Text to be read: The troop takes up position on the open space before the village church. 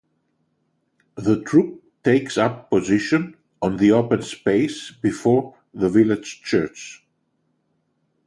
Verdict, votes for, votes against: accepted, 2, 0